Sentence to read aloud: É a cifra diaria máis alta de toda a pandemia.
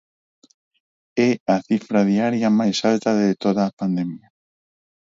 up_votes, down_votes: 4, 0